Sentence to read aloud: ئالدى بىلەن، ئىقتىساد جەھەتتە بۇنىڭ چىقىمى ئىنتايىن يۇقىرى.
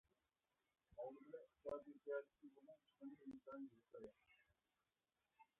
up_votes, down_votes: 0, 2